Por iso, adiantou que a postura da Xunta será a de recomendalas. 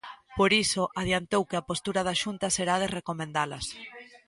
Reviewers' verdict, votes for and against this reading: rejected, 1, 2